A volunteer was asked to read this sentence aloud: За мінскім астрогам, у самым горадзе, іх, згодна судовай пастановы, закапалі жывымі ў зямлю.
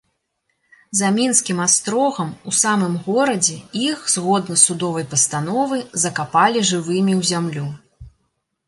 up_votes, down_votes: 2, 0